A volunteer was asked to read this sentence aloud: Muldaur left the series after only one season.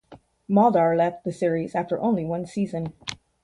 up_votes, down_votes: 4, 0